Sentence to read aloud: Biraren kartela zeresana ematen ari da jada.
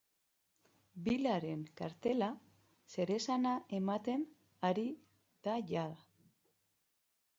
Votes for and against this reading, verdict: 1, 2, rejected